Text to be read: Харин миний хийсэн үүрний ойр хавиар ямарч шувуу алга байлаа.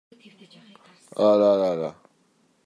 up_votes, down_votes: 0, 2